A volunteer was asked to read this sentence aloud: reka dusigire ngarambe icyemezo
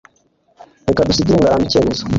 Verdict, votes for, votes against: rejected, 1, 2